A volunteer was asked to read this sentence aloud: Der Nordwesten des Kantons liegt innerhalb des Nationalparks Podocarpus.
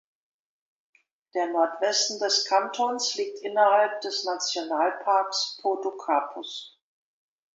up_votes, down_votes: 2, 0